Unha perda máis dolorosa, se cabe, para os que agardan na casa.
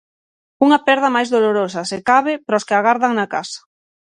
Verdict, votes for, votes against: accepted, 6, 0